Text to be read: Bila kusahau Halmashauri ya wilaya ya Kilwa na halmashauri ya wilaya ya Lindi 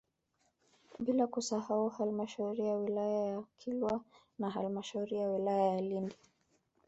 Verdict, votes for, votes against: accepted, 2, 0